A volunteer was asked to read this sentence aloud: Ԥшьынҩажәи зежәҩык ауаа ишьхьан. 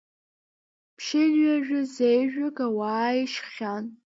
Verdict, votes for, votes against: rejected, 0, 2